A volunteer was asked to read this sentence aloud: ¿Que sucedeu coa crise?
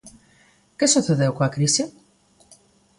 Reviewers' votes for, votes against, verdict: 2, 0, accepted